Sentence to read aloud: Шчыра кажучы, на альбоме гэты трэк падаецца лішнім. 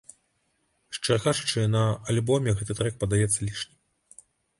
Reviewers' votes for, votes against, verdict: 1, 2, rejected